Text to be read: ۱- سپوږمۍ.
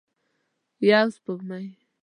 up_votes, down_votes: 0, 2